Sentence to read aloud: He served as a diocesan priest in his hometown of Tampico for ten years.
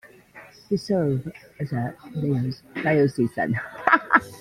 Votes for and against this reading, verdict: 0, 2, rejected